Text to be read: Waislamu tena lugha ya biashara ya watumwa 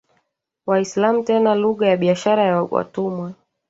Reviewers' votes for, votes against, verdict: 1, 2, rejected